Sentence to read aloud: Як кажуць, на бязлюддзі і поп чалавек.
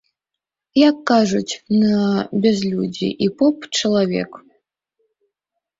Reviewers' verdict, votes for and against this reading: accepted, 2, 0